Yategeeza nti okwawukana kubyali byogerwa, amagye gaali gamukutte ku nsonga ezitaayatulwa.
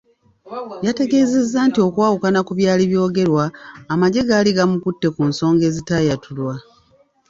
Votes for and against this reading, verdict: 1, 2, rejected